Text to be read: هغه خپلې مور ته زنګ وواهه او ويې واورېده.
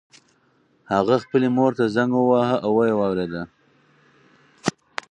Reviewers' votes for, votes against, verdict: 2, 2, rejected